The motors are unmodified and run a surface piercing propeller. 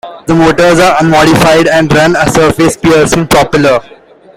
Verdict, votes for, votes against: rejected, 1, 2